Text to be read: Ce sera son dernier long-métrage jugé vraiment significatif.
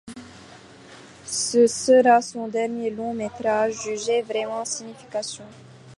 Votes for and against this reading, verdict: 0, 3, rejected